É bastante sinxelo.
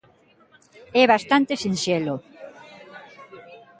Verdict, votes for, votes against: accepted, 2, 0